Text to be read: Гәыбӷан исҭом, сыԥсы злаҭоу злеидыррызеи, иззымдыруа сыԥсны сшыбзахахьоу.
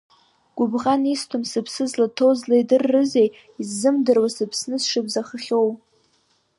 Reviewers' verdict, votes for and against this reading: accepted, 2, 0